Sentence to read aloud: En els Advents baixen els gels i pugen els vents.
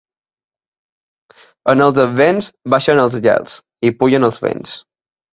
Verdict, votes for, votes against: accepted, 2, 0